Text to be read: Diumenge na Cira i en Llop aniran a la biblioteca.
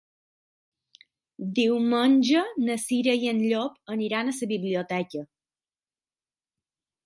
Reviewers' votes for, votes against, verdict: 3, 6, rejected